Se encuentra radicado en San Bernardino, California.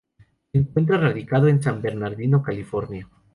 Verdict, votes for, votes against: accepted, 2, 0